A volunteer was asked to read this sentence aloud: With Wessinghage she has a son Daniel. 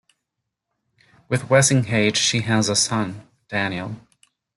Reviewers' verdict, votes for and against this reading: accepted, 2, 0